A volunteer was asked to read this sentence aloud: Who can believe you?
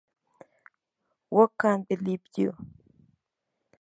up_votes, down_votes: 0, 2